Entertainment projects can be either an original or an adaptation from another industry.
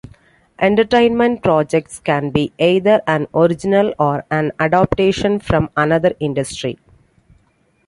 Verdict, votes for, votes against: accepted, 2, 0